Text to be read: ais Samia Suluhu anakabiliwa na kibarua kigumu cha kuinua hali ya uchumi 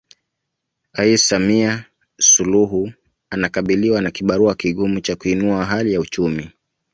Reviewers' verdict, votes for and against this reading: accepted, 2, 0